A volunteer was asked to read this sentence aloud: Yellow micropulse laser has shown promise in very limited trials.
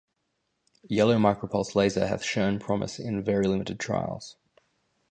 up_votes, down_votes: 0, 2